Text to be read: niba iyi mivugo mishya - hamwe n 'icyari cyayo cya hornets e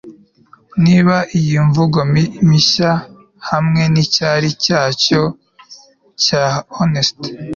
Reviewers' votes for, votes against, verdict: 2, 1, accepted